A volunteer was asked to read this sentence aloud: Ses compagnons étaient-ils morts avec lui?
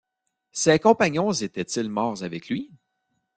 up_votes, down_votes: 1, 2